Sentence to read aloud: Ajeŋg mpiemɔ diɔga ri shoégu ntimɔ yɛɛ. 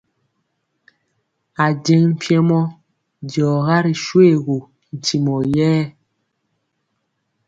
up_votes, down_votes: 2, 0